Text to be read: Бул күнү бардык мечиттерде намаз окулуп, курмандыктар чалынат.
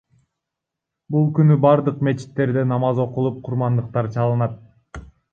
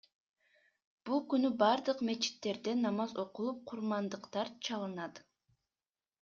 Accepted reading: second